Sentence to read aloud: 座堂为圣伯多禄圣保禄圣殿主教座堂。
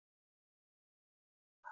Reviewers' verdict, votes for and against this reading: rejected, 0, 2